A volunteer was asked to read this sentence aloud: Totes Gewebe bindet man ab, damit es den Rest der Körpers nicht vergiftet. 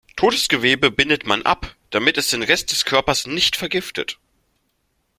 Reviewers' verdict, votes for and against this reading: rejected, 1, 2